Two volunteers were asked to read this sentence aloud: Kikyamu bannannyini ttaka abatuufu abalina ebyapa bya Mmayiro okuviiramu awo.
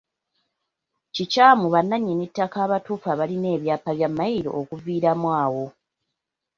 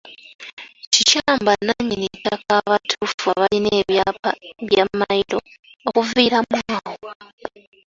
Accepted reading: first